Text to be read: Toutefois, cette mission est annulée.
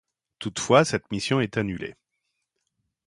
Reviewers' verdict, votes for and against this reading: accepted, 2, 0